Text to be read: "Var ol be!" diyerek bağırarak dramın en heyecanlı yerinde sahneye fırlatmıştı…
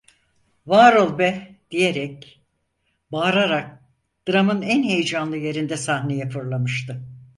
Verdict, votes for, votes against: rejected, 0, 4